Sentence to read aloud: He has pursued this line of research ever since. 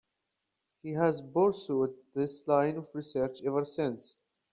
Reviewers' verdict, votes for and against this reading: accepted, 2, 0